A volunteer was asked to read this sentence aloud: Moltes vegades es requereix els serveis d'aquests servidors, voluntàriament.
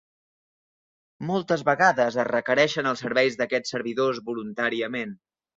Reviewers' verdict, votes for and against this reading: rejected, 1, 2